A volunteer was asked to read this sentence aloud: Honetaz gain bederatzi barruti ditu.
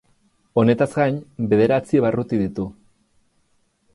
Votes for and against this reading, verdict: 4, 0, accepted